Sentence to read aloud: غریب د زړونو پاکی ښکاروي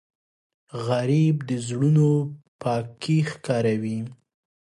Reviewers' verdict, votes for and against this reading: rejected, 1, 2